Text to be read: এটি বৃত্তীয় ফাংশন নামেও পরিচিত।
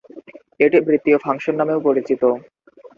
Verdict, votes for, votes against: accepted, 2, 0